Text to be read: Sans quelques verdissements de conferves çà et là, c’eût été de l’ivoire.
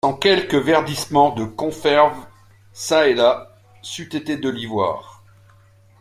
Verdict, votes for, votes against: rejected, 0, 2